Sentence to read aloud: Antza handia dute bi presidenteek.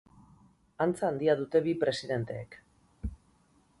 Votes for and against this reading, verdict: 2, 0, accepted